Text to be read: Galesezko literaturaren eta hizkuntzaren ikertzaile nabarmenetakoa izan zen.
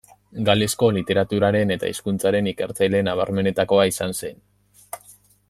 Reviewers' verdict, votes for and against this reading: rejected, 0, 2